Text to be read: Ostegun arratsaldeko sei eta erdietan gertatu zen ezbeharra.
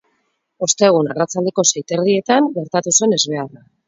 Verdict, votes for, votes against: rejected, 4, 4